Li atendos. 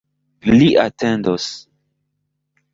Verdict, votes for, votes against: accepted, 2, 0